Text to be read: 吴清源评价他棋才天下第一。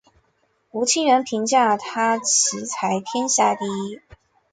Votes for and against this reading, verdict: 5, 0, accepted